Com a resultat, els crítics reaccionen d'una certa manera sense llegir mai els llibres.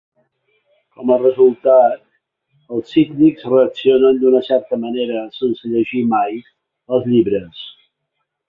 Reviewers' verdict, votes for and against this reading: rejected, 1, 4